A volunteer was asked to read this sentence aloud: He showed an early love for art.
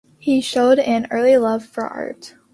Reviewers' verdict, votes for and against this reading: accepted, 2, 1